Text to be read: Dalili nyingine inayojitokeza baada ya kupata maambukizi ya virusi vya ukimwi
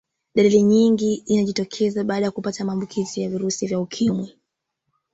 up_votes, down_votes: 1, 2